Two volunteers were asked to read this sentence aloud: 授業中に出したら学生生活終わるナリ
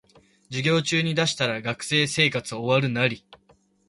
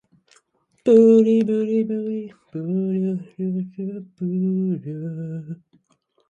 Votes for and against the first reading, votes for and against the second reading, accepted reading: 2, 0, 0, 5, first